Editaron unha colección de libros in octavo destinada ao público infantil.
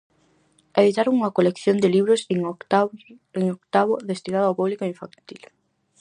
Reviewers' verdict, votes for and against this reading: rejected, 0, 4